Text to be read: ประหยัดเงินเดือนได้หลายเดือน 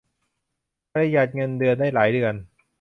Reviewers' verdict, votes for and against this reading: accepted, 2, 0